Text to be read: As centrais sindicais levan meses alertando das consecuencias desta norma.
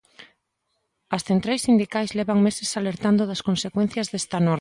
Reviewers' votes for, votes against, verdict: 1, 2, rejected